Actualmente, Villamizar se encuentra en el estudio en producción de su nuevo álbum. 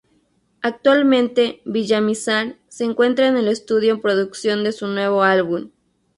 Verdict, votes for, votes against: accepted, 2, 0